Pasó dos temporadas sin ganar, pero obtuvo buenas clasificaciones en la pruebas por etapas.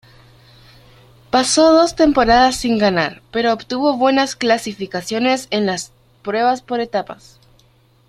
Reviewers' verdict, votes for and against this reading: rejected, 1, 2